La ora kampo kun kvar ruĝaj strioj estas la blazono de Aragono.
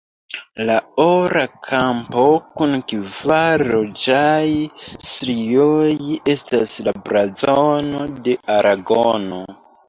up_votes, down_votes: 0, 2